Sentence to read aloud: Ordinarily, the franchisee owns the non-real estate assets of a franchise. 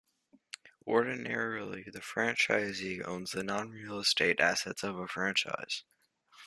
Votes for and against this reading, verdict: 2, 0, accepted